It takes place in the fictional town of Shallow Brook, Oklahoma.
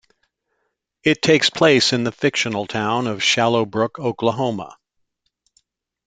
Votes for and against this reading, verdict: 2, 0, accepted